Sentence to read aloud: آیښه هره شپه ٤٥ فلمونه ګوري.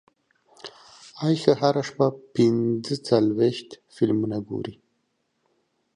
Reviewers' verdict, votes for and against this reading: rejected, 0, 2